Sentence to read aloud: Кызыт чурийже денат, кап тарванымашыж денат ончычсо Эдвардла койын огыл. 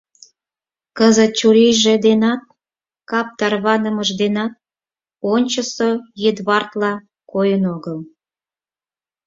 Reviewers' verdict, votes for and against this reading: accepted, 4, 0